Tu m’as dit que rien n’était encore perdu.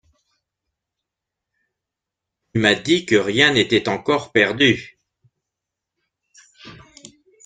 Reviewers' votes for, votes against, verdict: 1, 2, rejected